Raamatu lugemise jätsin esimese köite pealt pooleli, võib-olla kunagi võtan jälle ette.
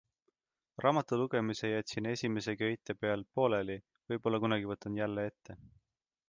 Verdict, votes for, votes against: accepted, 2, 0